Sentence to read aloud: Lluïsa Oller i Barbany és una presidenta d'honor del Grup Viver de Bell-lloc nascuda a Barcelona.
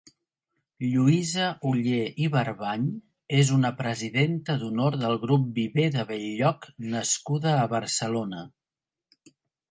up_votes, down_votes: 2, 0